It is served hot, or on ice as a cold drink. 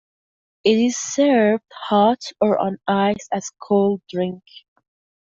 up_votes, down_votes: 2, 0